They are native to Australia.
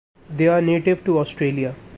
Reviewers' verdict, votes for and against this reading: accepted, 2, 0